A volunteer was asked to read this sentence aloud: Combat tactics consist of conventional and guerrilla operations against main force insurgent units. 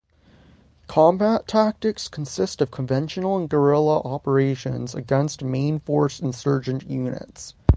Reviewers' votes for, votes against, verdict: 3, 3, rejected